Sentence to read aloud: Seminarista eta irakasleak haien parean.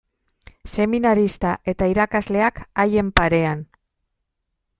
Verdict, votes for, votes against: accepted, 2, 0